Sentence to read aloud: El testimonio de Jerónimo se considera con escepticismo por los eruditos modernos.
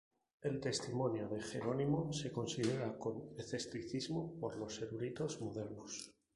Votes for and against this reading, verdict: 2, 2, rejected